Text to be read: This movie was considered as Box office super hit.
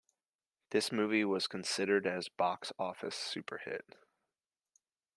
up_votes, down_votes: 2, 0